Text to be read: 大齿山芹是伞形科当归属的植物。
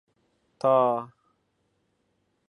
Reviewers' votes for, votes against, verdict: 1, 2, rejected